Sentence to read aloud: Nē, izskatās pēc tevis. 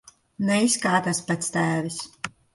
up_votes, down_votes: 1, 2